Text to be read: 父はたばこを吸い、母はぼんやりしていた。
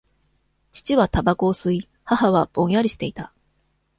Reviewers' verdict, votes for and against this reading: accepted, 2, 0